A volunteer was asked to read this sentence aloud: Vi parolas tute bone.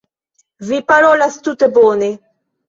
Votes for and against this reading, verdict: 2, 1, accepted